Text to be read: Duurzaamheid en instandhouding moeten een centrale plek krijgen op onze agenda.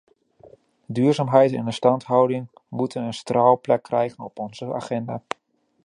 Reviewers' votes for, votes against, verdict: 1, 2, rejected